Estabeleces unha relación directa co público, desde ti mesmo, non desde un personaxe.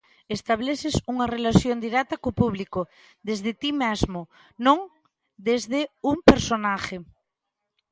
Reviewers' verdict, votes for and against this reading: rejected, 0, 2